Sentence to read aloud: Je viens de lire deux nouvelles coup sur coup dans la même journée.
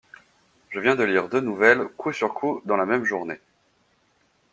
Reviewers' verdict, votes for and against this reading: accepted, 2, 0